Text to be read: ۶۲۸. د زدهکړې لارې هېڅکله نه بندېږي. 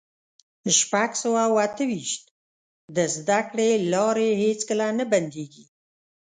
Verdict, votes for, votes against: rejected, 0, 2